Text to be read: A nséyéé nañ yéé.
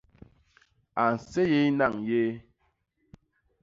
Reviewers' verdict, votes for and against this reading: accepted, 2, 0